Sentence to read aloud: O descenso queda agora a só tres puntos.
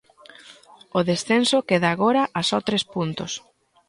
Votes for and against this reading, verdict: 2, 0, accepted